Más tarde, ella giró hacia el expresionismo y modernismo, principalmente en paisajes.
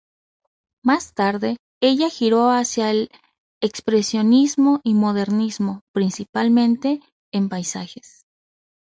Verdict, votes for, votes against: accepted, 2, 0